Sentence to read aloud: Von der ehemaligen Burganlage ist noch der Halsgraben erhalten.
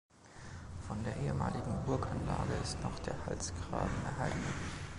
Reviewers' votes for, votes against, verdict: 2, 1, accepted